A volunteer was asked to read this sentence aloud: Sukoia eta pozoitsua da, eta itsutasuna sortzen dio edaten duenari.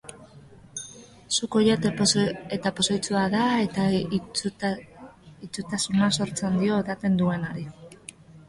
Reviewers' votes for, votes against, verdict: 1, 2, rejected